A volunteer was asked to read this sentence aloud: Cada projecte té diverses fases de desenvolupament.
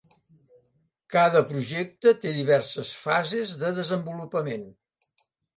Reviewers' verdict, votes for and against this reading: accepted, 3, 0